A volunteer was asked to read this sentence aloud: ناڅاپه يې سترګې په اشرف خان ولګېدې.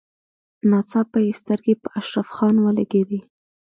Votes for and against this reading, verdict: 2, 0, accepted